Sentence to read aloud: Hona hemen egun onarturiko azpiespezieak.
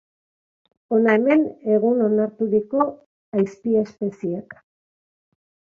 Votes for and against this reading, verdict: 1, 2, rejected